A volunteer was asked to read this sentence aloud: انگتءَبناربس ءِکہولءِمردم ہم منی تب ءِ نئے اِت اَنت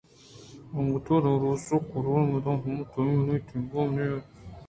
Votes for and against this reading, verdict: 2, 0, accepted